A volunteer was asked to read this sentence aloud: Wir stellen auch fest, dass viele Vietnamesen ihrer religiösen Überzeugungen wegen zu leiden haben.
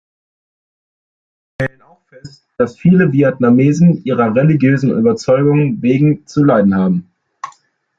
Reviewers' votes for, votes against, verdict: 0, 2, rejected